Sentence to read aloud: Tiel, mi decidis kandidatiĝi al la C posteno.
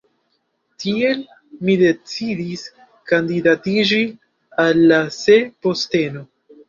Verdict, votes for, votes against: rejected, 1, 2